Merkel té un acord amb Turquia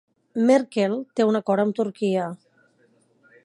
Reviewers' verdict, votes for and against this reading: accepted, 3, 0